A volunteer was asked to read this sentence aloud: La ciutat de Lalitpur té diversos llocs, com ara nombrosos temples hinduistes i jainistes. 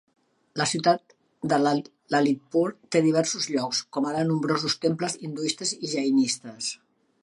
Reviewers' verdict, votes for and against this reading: rejected, 0, 2